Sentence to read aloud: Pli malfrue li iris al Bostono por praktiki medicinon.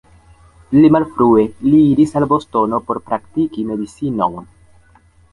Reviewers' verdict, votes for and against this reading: accepted, 2, 0